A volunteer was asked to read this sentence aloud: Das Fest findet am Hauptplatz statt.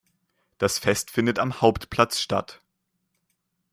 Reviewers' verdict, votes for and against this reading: accepted, 2, 0